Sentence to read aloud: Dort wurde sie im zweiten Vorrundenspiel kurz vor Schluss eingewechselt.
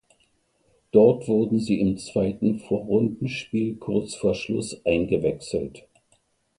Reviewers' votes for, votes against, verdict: 2, 1, accepted